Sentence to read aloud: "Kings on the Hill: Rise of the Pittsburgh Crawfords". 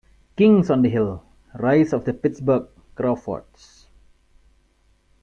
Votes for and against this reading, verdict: 2, 1, accepted